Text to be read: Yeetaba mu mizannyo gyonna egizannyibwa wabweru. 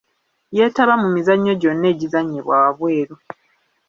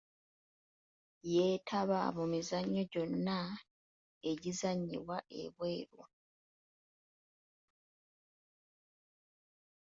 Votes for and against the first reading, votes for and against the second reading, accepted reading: 2, 0, 0, 2, first